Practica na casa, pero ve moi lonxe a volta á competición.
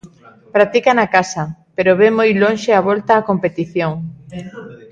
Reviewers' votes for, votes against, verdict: 1, 2, rejected